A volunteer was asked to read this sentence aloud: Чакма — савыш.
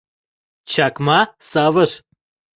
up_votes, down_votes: 2, 0